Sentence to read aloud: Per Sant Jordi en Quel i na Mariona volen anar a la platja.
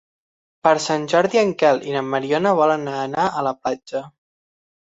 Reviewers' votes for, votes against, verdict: 6, 3, accepted